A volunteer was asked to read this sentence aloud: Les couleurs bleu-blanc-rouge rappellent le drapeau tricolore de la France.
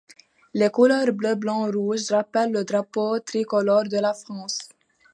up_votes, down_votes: 2, 0